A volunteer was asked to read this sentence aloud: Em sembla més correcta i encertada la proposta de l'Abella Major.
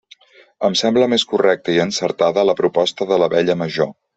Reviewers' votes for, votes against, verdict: 2, 0, accepted